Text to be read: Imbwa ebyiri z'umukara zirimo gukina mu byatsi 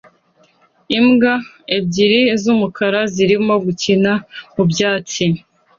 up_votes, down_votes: 2, 1